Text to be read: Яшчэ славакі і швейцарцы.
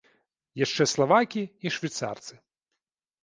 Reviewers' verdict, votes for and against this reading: rejected, 0, 2